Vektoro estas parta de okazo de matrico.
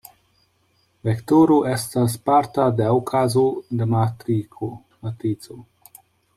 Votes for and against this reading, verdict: 0, 2, rejected